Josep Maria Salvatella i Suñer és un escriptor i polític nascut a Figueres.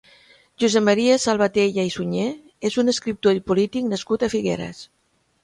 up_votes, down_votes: 2, 0